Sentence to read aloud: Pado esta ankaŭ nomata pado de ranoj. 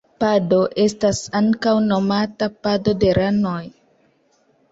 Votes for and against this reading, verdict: 2, 0, accepted